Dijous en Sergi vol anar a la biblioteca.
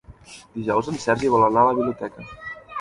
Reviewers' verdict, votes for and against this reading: rejected, 0, 3